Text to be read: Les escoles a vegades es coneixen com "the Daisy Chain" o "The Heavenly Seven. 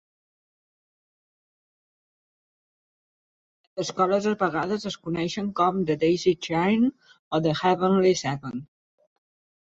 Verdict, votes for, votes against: rejected, 1, 2